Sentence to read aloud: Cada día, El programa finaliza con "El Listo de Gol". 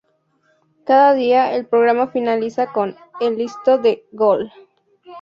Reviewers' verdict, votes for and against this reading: accepted, 4, 0